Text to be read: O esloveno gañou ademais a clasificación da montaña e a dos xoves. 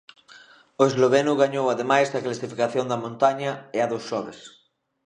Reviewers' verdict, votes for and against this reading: accepted, 2, 0